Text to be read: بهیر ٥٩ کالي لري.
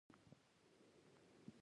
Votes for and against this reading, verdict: 0, 2, rejected